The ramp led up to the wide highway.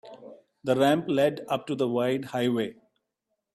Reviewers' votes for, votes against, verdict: 2, 0, accepted